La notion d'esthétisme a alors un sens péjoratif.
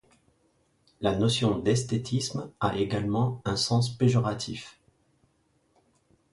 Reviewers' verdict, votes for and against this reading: rejected, 0, 2